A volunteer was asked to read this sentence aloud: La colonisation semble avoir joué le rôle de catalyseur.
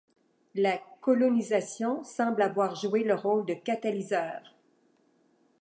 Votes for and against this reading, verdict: 2, 0, accepted